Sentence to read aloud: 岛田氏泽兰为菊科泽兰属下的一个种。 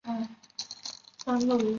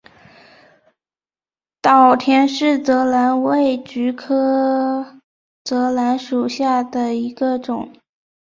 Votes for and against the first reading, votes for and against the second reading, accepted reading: 0, 2, 3, 1, second